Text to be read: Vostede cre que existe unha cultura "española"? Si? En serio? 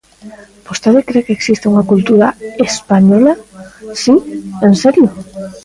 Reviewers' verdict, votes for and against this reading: rejected, 1, 2